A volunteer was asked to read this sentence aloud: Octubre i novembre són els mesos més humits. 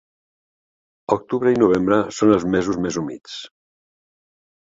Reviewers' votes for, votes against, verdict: 7, 0, accepted